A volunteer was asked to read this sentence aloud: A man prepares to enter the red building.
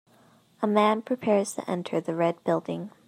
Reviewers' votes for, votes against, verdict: 2, 0, accepted